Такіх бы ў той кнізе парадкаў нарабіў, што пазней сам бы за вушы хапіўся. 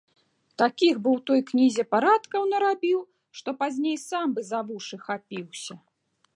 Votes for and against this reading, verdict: 2, 0, accepted